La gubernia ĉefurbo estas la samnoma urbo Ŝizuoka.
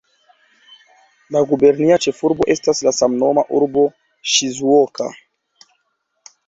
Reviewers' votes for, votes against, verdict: 2, 1, accepted